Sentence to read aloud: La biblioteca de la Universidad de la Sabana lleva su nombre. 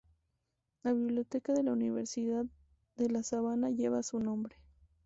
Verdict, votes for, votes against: accepted, 2, 0